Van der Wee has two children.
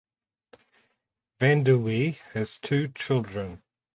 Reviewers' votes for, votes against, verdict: 8, 0, accepted